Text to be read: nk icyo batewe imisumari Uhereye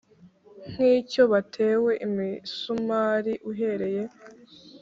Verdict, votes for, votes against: accepted, 3, 0